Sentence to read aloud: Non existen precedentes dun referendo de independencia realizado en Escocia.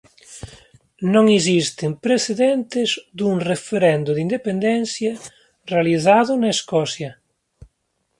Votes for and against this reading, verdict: 0, 4, rejected